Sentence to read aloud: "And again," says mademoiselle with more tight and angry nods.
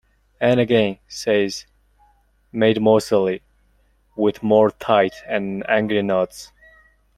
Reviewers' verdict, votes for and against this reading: rejected, 0, 2